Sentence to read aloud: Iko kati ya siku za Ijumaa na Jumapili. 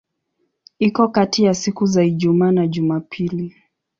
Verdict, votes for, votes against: accepted, 14, 2